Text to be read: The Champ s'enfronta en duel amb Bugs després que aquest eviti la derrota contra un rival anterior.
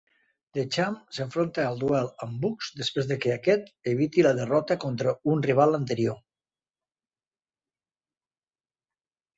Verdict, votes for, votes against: rejected, 1, 2